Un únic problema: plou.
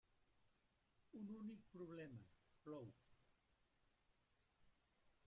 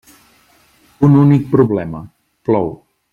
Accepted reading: second